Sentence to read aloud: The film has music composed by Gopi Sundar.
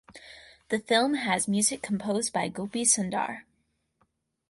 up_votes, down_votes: 4, 0